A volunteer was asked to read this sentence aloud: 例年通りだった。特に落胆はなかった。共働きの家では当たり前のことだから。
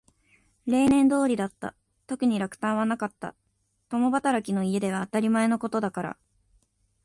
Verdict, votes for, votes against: accepted, 2, 1